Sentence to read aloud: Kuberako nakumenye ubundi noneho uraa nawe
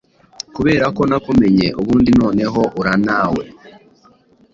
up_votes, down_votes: 2, 0